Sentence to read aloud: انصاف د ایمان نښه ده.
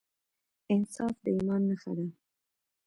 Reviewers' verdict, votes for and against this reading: accepted, 2, 1